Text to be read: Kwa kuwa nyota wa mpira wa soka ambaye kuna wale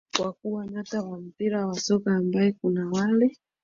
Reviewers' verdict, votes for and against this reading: rejected, 2, 3